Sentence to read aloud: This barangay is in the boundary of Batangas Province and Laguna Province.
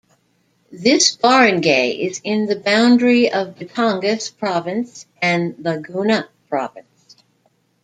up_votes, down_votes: 1, 2